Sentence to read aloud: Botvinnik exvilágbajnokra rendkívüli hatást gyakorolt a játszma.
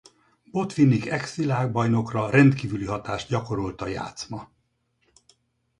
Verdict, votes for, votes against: rejected, 2, 4